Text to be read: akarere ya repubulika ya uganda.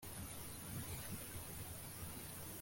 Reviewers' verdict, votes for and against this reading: rejected, 0, 2